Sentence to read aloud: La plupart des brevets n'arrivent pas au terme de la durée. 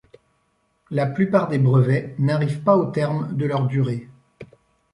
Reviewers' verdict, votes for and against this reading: rejected, 1, 2